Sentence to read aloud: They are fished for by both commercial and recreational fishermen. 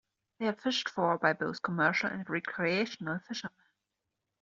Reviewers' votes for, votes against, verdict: 2, 1, accepted